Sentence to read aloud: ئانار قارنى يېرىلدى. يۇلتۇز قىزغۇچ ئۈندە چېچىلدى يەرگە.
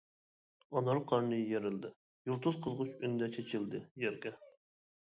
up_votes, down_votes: 2, 0